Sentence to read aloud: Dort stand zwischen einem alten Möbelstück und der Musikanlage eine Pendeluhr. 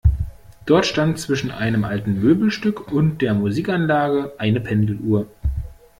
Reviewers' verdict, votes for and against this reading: accepted, 2, 0